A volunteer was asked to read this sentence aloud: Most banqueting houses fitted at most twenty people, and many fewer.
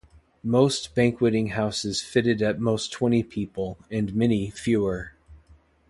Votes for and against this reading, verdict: 2, 0, accepted